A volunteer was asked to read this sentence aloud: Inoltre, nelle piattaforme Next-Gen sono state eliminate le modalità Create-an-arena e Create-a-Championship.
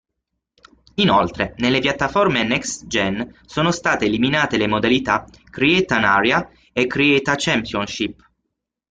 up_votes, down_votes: 0, 6